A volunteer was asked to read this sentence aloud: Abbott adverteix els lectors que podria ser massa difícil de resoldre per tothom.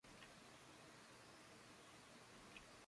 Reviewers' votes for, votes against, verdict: 0, 2, rejected